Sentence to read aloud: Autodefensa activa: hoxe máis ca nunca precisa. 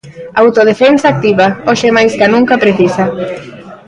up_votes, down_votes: 1, 2